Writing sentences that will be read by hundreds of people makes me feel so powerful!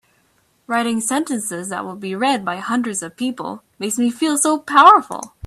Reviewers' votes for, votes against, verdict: 2, 0, accepted